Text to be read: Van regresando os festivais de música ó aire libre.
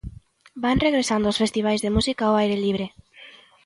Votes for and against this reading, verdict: 2, 0, accepted